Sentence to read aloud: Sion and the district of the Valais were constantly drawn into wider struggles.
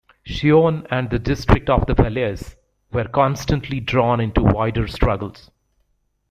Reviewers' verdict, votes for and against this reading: rejected, 1, 2